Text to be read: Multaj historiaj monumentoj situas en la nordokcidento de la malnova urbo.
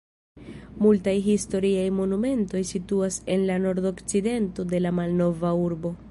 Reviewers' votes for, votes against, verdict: 0, 2, rejected